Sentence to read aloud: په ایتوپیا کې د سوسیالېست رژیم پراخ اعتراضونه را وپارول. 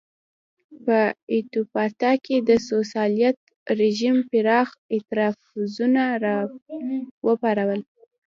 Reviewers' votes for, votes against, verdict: 1, 2, rejected